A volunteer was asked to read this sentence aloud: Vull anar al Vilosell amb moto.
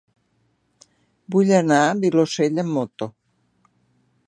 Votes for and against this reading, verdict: 1, 2, rejected